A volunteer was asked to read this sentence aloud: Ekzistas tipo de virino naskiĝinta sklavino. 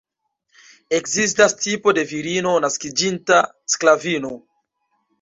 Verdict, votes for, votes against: accepted, 2, 0